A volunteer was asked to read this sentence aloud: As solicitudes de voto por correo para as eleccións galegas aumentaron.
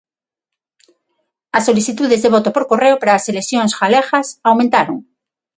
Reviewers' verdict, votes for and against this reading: accepted, 6, 0